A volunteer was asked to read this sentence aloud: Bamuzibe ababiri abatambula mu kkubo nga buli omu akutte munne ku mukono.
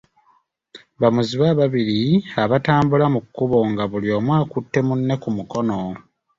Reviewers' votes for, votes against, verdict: 2, 0, accepted